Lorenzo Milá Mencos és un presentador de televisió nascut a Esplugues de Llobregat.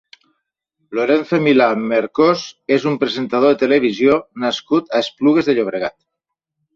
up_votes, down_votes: 0, 2